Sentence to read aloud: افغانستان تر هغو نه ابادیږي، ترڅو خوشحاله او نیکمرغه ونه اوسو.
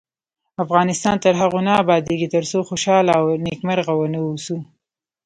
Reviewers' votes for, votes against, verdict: 2, 0, accepted